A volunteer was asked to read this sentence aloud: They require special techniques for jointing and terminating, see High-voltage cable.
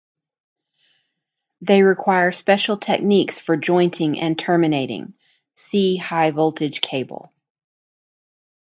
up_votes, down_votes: 2, 1